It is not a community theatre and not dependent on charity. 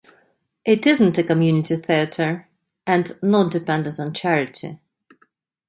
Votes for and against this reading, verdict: 0, 2, rejected